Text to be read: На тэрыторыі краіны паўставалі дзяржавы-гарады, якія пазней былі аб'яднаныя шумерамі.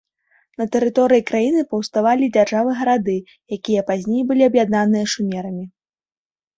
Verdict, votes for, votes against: accepted, 2, 0